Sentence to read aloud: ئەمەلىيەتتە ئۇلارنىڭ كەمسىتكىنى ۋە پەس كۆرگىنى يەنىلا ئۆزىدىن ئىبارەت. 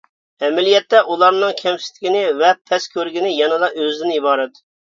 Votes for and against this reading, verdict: 2, 0, accepted